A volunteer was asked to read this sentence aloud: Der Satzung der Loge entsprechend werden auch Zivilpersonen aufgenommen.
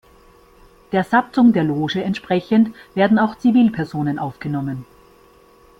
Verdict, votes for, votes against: accepted, 2, 0